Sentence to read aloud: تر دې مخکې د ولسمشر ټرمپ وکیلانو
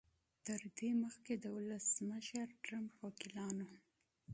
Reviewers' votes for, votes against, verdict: 1, 2, rejected